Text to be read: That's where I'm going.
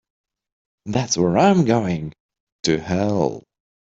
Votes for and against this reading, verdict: 1, 3, rejected